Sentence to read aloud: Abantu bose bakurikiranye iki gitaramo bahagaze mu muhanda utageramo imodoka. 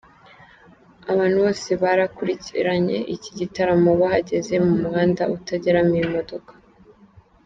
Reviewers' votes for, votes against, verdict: 1, 2, rejected